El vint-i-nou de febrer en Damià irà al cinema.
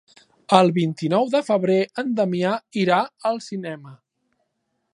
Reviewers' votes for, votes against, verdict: 3, 0, accepted